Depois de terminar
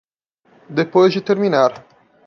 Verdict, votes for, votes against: accepted, 2, 0